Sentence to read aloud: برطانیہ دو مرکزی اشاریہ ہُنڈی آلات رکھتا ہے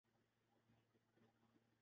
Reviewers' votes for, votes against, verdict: 0, 4, rejected